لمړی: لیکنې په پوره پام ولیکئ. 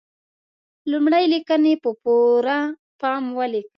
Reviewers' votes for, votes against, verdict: 2, 1, accepted